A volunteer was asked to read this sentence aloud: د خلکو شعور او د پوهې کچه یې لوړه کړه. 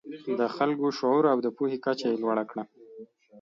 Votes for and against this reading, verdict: 2, 0, accepted